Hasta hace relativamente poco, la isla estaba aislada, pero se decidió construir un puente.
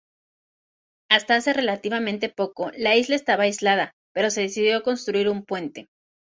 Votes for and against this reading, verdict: 0, 2, rejected